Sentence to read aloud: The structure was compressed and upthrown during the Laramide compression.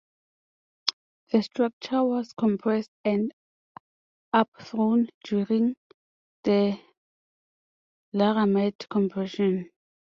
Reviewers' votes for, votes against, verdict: 2, 0, accepted